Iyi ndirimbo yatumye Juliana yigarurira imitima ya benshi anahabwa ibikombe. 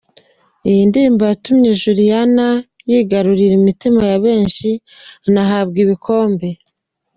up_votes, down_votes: 2, 0